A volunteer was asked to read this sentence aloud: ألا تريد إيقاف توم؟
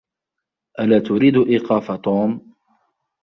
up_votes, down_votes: 1, 2